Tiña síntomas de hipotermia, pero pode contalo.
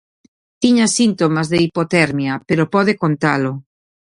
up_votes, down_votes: 2, 0